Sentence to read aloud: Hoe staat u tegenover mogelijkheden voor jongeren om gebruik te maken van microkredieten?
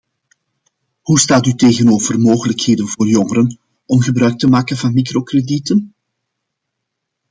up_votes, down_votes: 2, 0